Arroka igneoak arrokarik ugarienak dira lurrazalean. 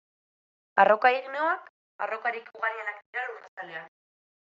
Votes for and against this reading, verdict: 2, 0, accepted